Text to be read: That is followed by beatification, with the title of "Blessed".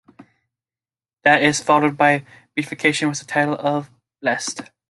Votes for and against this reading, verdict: 2, 0, accepted